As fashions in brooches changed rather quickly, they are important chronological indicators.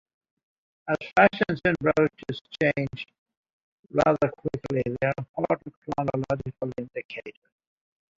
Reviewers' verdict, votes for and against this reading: rejected, 0, 3